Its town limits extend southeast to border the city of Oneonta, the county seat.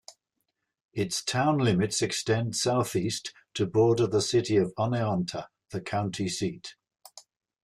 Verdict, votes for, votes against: accepted, 2, 0